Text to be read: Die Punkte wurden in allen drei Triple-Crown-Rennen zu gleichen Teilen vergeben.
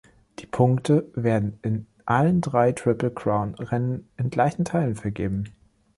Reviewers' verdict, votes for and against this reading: rejected, 0, 2